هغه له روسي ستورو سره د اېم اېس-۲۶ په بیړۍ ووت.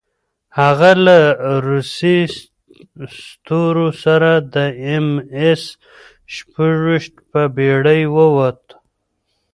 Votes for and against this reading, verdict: 0, 2, rejected